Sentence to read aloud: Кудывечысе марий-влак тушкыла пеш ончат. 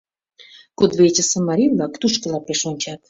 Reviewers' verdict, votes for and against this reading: accepted, 2, 0